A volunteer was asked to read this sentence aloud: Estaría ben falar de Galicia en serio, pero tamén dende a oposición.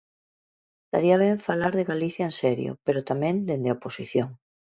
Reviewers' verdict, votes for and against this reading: accepted, 2, 0